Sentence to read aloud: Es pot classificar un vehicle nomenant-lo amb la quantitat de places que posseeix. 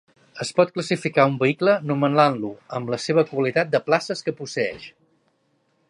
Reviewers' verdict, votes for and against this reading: rejected, 0, 2